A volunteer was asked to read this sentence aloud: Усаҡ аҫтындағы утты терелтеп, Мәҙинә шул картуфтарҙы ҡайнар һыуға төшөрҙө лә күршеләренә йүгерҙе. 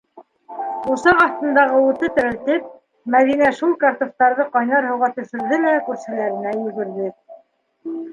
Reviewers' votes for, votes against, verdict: 0, 2, rejected